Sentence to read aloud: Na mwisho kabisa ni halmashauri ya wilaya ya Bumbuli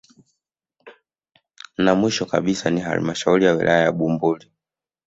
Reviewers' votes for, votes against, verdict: 1, 2, rejected